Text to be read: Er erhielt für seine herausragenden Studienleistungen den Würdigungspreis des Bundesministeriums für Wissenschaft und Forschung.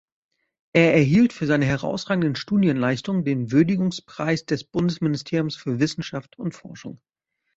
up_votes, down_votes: 2, 0